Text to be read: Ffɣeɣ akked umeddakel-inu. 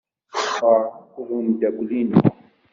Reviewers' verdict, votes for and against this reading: rejected, 1, 2